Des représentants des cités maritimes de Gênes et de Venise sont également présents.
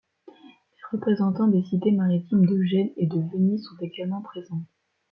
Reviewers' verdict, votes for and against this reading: rejected, 1, 2